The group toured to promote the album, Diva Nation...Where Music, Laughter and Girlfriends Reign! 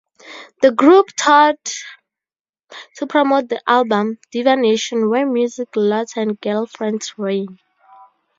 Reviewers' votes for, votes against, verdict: 0, 2, rejected